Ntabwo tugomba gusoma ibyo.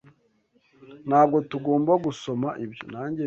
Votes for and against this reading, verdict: 1, 2, rejected